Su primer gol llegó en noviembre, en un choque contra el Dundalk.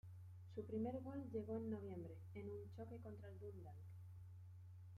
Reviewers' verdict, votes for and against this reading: accepted, 2, 1